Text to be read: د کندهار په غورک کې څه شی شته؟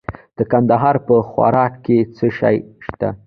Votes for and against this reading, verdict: 1, 2, rejected